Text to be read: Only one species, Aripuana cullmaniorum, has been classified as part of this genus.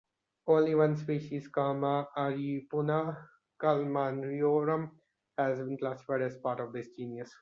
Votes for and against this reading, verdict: 0, 2, rejected